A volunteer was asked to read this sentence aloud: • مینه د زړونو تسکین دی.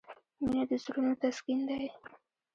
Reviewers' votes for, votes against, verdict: 2, 0, accepted